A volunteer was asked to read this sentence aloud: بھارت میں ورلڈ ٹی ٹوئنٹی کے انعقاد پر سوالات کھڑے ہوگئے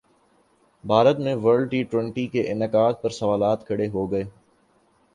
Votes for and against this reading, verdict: 2, 0, accepted